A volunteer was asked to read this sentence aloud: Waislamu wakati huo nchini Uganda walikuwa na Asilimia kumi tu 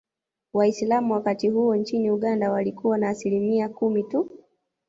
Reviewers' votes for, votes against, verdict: 1, 2, rejected